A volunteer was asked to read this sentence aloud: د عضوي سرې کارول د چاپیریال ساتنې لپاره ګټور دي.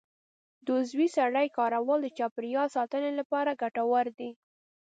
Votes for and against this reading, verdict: 1, 2, rejected